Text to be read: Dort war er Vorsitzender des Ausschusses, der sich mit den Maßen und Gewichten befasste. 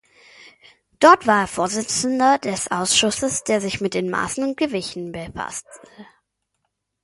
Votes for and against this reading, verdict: 0, 2, rejected